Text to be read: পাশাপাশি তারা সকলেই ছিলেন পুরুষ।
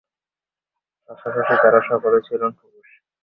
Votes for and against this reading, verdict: 2, 4, rejected